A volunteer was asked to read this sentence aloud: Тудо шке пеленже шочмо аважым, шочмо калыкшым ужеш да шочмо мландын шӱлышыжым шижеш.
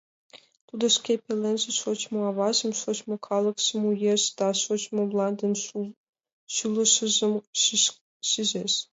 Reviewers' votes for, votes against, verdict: 0, 2, rejected